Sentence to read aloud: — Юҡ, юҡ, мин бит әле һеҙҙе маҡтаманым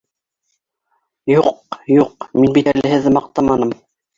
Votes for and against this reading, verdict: 2, 0, accepted